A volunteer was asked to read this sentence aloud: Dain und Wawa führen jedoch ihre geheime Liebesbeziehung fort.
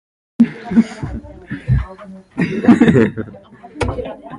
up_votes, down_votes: 0, 2